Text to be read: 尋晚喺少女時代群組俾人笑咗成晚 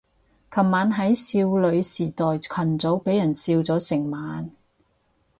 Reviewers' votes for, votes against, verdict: 0, 4, rejected